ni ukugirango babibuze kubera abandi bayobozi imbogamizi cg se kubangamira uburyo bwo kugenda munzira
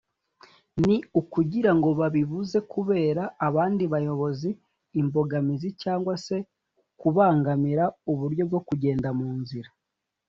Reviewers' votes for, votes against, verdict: 2, 0, accepted